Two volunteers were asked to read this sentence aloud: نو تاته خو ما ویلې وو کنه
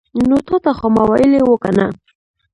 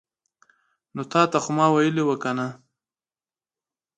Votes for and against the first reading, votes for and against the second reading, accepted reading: 1, 2, 2, 0, second